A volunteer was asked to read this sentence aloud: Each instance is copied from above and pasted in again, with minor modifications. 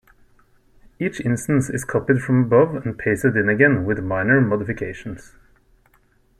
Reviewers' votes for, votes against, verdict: 2, 1, accepted